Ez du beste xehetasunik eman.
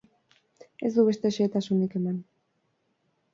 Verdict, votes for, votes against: accepted, 4, 0